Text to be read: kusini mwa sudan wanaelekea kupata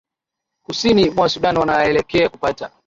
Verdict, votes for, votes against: accepted, 2, 0